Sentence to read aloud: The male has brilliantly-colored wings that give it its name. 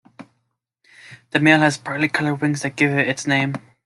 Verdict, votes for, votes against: rejected, 1, 2